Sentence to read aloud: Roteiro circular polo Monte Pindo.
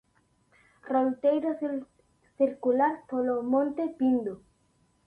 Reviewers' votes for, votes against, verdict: 0, 2, rejected